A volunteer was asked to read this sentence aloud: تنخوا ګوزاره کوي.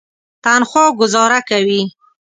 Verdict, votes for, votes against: accepted, 2, 0